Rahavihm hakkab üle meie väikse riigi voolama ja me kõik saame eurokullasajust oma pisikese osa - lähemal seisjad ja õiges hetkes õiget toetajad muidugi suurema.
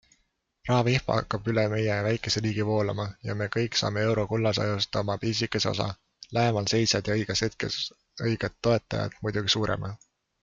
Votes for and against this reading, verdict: 2, 1, accepted